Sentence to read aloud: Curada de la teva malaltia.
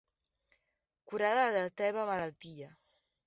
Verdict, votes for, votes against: rejected, 1, 2